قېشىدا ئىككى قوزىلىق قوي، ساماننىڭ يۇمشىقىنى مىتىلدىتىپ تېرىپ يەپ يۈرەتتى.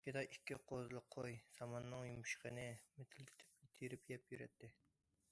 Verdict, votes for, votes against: rejected, 0, 2